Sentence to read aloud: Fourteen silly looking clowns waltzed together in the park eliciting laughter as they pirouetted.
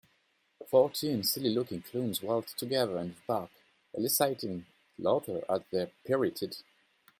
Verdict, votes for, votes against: rejected, 0, 2